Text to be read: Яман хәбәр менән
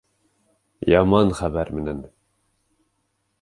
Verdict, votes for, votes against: accepted, 3, 0